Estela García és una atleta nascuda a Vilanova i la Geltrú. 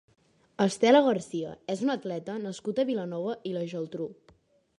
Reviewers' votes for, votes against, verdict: 3, 1, accepted